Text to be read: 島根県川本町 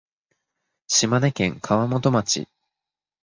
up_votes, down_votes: 4, 0